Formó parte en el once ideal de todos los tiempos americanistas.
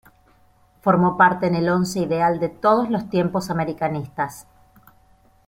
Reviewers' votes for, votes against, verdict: 2, 1, accepted